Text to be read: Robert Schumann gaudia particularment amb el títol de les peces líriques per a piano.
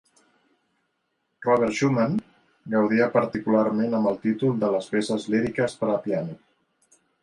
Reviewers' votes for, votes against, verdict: 2, 0, accepted